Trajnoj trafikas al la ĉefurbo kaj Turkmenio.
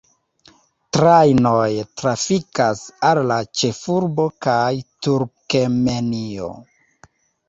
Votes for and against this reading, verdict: 0, 2, rejected